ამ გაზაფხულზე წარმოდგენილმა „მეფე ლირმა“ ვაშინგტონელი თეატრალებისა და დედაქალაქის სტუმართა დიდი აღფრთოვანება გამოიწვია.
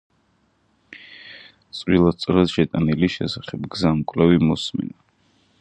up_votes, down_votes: 0, 2